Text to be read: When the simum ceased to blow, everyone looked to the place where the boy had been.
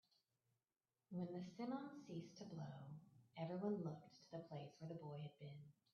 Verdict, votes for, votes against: rejected, 1, 2